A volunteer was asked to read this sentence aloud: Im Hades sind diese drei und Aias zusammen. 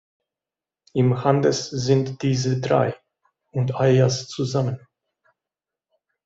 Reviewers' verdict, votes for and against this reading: rejected, 1, 2